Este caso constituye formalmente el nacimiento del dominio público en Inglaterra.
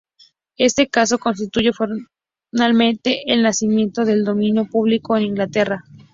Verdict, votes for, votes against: rejected, 0, 2